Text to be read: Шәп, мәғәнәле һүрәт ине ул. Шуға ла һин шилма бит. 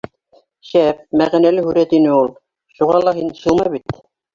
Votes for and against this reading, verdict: 1, 2, rejected